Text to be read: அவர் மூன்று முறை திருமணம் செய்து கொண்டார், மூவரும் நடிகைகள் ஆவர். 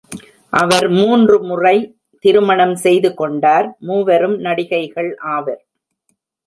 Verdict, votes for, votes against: accepted, 2, 0